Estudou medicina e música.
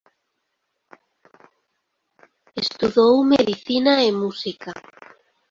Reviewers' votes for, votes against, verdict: 0, 2, rejected